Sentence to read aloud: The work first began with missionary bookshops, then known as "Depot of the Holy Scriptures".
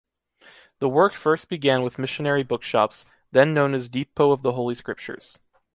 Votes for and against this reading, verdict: 2, 0, accepted